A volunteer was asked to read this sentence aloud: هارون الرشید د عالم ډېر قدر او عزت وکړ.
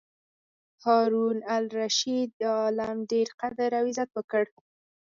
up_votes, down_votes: 0, 4